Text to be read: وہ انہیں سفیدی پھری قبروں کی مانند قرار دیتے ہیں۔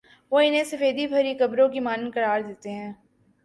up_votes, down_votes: 2, 0